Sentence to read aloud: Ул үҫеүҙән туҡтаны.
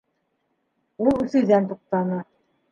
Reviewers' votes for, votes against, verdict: 2, 0, accepted